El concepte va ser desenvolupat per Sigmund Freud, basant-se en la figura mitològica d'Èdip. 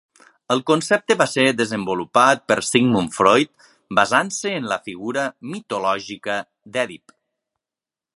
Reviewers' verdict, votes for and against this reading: accepted, 3, 0